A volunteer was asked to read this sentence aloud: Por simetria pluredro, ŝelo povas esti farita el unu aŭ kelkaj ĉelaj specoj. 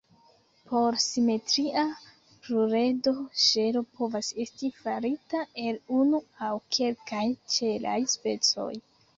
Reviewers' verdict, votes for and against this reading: rejected, 1, 2